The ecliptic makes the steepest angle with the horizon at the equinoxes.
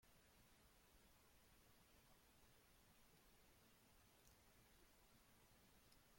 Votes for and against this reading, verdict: 0, 2, rejected